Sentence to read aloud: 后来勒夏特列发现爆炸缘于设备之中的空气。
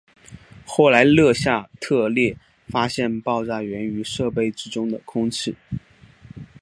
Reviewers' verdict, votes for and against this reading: accepted, 2, 0